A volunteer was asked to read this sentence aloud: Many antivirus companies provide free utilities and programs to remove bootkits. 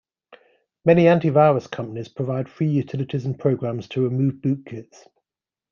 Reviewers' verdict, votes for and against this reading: accepted, 2, 0